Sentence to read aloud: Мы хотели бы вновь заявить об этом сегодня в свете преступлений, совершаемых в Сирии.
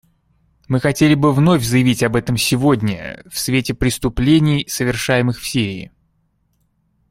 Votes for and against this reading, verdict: 2, 0, accepted